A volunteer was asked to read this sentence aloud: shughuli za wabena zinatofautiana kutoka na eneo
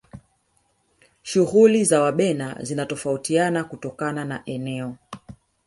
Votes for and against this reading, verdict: 0, 2, rejected